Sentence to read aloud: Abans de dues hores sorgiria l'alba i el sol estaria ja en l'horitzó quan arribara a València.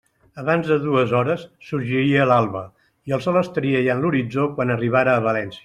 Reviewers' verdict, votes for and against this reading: accepted, 2, 0